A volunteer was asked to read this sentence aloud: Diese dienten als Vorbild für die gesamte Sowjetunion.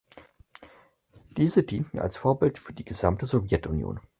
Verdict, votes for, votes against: accepted, 4, 0